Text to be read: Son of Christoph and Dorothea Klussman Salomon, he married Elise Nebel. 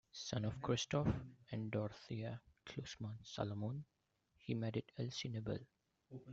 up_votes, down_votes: 1, 2